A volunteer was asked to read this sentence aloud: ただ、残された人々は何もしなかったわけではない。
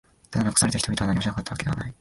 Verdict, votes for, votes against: rejected, 1, 5